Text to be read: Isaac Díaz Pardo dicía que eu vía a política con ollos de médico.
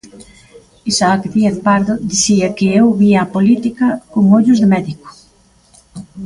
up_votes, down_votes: 2, 0